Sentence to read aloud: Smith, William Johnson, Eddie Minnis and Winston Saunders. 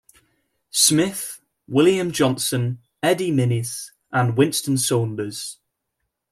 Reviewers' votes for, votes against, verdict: 2, 1, accepted